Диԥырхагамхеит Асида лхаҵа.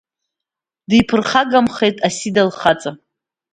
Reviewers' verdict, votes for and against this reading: accepted, 2, 0